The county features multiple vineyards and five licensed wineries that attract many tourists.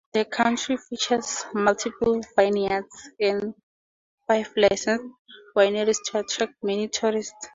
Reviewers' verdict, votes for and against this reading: rejected, 0, 2